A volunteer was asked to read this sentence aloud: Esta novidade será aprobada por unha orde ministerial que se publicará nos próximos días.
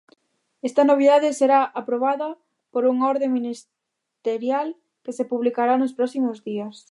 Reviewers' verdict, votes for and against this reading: rejected, 1, 2